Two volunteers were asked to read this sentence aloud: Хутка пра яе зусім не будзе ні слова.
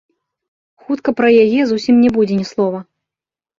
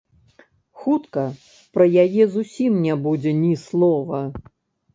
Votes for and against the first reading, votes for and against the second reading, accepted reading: 3, 0, 0, 2, first